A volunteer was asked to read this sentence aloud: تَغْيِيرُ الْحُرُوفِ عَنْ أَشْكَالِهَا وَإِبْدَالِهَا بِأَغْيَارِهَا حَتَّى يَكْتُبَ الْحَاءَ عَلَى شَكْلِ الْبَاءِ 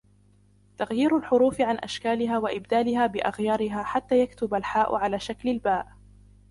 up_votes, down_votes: 1, 2